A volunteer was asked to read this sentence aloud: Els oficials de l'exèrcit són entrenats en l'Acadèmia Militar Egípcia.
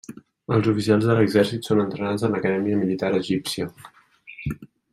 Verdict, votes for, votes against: accepted, 2, 1